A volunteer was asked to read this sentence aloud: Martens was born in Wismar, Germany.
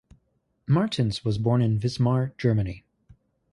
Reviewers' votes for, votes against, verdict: 2, 0, accepted